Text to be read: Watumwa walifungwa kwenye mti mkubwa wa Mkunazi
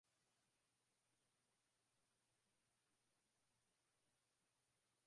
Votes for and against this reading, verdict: 0, 2, rejected